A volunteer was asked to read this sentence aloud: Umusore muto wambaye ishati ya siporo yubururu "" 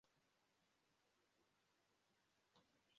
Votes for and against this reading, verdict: 0, 2, rejected